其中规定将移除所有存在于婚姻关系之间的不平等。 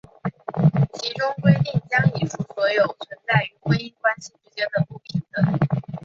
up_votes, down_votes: 0, 2